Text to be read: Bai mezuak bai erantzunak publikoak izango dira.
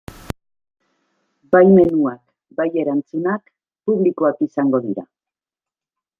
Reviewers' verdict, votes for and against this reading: rejected, 0, 2